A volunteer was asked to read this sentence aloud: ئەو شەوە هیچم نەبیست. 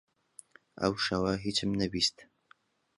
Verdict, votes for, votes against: accepted, 2, 1